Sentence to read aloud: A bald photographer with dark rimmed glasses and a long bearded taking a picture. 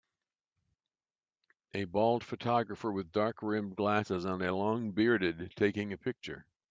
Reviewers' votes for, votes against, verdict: 3, 0, accepted